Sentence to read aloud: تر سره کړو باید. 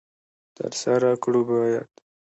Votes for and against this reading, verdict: 2, 0, accepted